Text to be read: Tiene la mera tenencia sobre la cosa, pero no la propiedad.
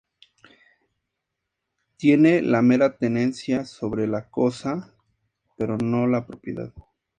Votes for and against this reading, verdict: 4, 0, accepted